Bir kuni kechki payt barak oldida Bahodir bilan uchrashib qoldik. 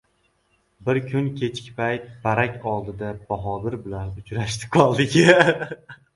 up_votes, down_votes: 0, 2